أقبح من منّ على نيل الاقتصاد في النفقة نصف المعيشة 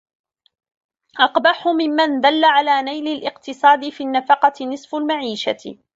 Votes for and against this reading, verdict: 1, 2, rejected